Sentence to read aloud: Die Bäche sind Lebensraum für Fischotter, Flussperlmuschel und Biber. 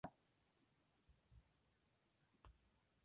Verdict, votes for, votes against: rejected, 0, 2